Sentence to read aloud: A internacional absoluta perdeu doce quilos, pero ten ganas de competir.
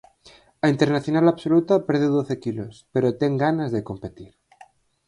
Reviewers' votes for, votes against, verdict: 4, 0, accepted